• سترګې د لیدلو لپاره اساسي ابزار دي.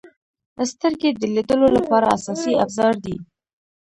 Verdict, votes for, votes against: rejected, 0, 2